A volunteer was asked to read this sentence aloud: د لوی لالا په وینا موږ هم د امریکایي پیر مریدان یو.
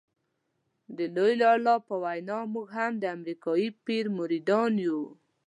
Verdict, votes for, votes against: accepted, 2, 0